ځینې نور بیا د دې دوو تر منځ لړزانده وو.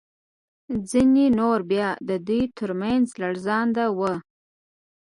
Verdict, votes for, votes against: rejected, 1, 2